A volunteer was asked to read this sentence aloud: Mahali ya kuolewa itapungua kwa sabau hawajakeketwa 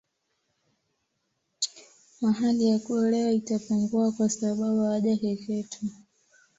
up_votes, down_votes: 2, 1